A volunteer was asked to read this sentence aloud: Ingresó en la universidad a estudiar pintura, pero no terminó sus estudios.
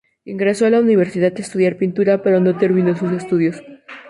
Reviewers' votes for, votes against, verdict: 2, 2, rejected